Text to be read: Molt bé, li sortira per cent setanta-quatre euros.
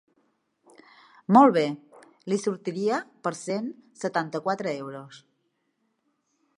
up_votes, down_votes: 0, 2